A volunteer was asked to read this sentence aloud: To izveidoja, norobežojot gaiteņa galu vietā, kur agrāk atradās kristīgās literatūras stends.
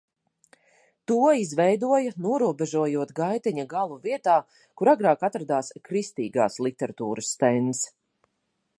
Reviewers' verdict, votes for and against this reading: accepted, 2, 0